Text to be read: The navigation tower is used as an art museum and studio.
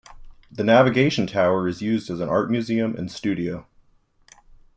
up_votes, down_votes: 2, 0